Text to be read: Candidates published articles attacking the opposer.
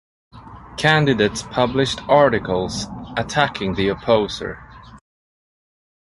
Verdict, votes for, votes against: accepted, 2, 0